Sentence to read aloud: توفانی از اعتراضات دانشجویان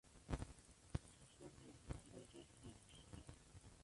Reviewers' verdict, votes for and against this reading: rejected, 0, 2